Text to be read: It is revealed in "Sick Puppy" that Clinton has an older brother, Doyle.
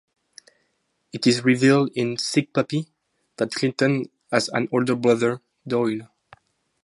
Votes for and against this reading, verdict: 2, 0, accepted